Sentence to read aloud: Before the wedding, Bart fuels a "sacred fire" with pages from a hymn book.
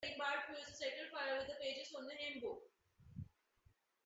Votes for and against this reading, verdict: 0, 2, rejected